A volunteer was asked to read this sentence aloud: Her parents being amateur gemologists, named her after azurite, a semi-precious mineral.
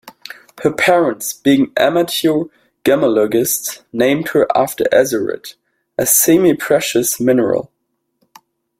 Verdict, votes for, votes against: rejected, 1, 2